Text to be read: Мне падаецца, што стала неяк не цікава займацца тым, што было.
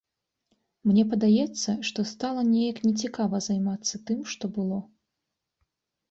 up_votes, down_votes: 2, 0